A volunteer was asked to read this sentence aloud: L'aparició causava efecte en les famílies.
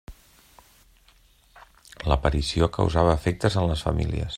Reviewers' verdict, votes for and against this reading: rejected, 1, 2